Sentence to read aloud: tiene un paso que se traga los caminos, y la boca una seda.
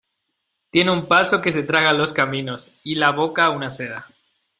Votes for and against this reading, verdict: 2, 0, accepted